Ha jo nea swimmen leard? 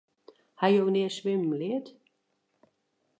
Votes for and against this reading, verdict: 2, 0, accepted